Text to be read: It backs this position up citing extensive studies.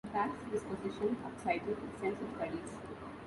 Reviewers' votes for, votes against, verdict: 0, 2, rejected